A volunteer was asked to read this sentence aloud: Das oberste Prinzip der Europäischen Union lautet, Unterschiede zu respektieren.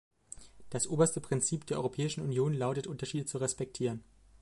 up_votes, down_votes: 2, 0